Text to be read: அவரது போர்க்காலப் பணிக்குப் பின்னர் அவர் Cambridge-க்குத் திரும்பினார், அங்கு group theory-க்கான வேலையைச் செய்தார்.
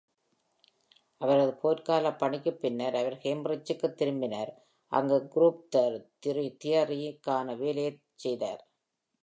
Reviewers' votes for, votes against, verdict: 0, 2, rejected